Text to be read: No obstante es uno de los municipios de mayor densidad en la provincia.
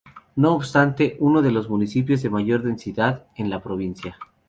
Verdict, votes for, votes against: rejected, 0, 2